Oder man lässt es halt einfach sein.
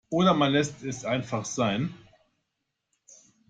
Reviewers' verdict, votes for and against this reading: rejected, 1, 2